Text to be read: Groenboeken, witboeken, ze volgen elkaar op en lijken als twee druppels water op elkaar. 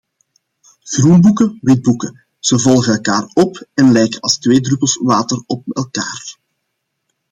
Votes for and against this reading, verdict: 1, 2, rejected